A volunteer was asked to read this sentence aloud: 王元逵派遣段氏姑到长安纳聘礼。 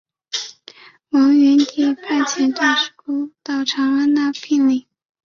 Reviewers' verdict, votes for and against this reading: rejected, 0, 2